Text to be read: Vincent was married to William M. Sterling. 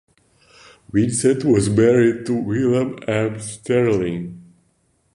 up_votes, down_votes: 2, 0